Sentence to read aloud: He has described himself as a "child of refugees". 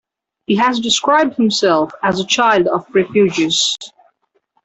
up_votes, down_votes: 2, 0